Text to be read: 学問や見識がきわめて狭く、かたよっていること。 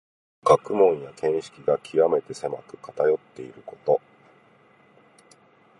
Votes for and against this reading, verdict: 2, 0, accepted